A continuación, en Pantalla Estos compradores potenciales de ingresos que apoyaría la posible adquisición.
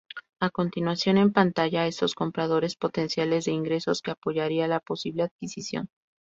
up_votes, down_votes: 2, 0